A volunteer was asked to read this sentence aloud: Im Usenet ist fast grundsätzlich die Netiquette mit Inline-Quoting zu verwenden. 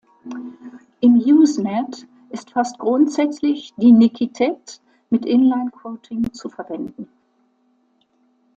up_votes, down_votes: 1, 2